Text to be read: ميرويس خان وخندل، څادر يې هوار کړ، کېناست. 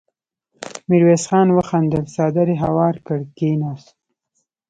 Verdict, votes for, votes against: accepted, 2, 0